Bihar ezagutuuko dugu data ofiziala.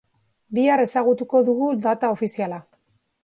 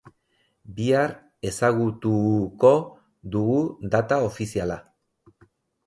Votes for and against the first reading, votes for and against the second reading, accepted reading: 2, 0, 0, 2, first